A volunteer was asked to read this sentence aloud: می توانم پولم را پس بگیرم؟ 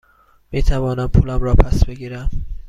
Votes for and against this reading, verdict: 2, 0, accepted